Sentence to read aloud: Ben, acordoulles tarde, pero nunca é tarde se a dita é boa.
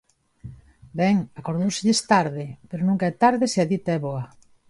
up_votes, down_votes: 0, 2